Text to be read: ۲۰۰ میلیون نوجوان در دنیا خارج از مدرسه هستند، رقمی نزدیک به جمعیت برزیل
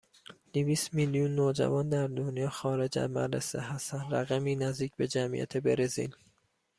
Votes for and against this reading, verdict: 0, 2, rejected